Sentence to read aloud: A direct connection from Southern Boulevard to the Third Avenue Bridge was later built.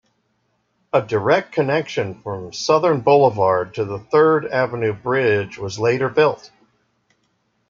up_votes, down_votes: 2, 0